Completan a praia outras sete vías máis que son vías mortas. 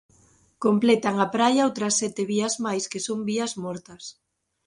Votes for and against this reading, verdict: 2, 0, accepted